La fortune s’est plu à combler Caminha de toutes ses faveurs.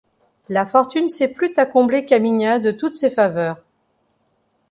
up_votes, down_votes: 0, 2